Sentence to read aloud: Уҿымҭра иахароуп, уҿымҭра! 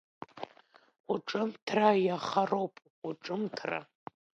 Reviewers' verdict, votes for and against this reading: rejected, 1, 2